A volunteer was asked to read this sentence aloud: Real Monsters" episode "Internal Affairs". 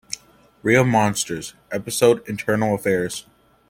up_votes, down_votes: 2, 0